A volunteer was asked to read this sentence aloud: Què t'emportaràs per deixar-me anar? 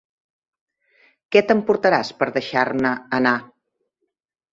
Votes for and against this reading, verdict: 1, 2, rejected